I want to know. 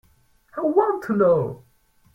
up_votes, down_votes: 4, 0